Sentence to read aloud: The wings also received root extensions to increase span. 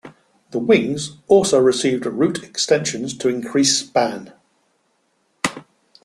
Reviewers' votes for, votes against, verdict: 2, 0, accepted